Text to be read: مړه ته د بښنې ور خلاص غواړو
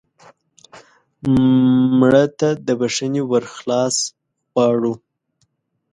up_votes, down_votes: 0, 2